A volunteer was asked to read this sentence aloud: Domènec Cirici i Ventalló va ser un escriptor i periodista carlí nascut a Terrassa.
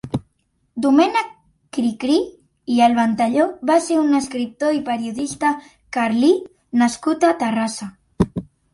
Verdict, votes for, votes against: rejected, 0, 2